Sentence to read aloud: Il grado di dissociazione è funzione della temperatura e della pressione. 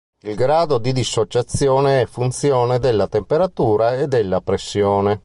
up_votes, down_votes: 2, 0